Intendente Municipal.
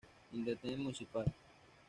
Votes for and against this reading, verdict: 1, 2, rejected